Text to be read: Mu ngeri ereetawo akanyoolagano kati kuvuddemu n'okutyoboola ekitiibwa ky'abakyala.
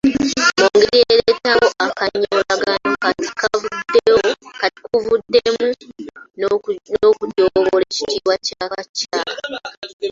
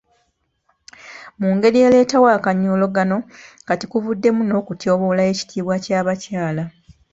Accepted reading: second